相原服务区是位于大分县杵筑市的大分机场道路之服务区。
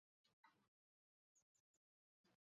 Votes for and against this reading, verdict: 0, 4, rejected